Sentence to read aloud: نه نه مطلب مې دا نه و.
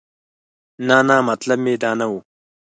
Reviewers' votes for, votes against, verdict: 4, 0, accepted